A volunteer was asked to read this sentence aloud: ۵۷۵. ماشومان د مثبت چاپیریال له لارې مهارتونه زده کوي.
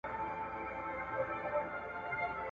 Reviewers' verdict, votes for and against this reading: rejected, 0, 2